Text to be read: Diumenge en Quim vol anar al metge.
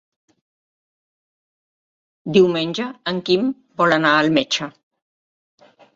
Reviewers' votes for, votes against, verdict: 3, 0, accepted